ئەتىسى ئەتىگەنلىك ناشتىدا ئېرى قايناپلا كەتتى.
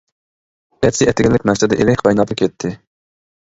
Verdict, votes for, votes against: rejected, 1, 2